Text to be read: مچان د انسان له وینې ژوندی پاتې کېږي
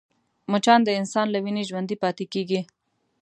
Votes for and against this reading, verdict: 2, 0, accepted